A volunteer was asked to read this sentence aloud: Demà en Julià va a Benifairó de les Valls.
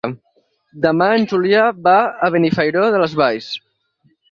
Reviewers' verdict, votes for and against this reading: accepted, 6, 2